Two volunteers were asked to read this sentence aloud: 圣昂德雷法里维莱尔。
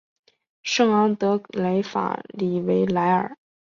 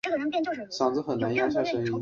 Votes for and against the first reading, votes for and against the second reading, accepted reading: 6, 2, 1, 2, first